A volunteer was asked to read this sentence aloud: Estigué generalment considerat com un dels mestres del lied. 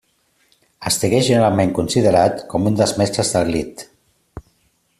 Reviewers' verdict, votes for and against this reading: accepted, 2, 0